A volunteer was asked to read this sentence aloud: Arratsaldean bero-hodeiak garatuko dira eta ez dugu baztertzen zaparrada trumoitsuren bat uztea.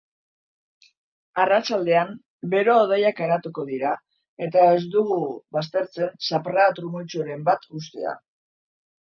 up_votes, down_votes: 3, 1